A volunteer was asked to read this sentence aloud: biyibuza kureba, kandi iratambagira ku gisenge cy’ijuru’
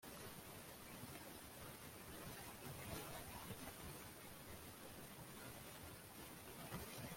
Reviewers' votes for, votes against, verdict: 0, 2, rejected